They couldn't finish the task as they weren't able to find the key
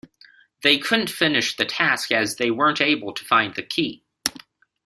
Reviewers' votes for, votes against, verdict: 2, 0, accepted